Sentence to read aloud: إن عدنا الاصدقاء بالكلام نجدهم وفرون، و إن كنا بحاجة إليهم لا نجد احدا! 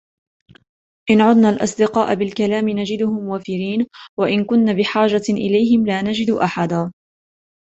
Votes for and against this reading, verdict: 2, 0, accepted